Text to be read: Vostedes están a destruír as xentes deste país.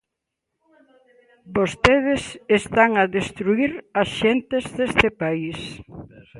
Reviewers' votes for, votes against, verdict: 2, 1, accepted